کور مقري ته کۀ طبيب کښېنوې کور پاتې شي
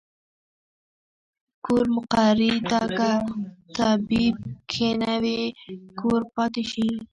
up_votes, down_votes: 0, 2